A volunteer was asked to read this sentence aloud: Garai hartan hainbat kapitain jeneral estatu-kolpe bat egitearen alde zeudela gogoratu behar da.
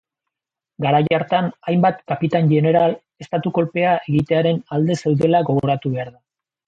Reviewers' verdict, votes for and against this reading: rejected, 0, 2